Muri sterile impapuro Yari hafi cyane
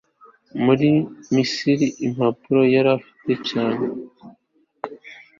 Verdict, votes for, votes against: accepted, 2, 0